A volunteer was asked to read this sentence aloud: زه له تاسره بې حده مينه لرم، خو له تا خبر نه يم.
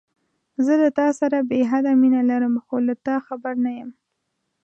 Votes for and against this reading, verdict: 2, 0, accepted